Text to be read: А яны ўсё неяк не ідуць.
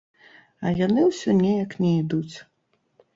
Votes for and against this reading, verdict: 1, 2, rejected